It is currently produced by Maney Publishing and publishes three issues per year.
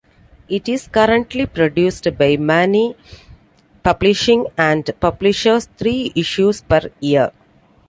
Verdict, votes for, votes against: accepted, 2, 1